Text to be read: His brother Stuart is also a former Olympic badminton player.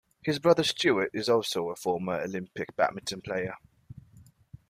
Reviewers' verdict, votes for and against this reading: accepted, 2, 0